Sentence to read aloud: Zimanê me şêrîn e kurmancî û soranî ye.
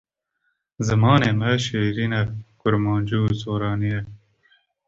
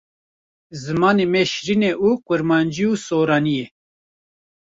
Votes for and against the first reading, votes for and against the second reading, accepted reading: 2, 0, 1, 2, first